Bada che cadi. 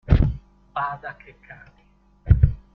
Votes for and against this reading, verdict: 1, 2, rejected